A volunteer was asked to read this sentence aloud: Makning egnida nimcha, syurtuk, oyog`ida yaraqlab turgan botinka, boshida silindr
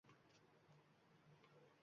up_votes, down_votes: 1, 2